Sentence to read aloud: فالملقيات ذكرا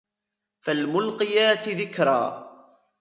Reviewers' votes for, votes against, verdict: 2, 1, accepted